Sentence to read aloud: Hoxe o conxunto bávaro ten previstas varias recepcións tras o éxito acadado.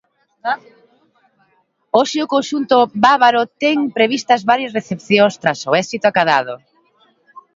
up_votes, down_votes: 1, 3